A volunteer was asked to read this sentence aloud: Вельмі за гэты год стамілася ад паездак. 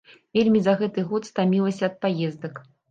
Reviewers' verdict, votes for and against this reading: accepted, 2, 0